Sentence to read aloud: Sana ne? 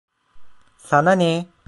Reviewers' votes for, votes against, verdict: 1, 2, rejected